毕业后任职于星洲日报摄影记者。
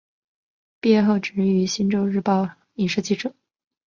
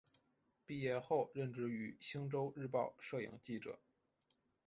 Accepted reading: second